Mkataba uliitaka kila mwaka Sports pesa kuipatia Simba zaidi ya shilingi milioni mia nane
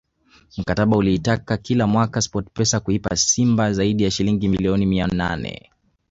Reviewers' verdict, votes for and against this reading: accepted, 3, 2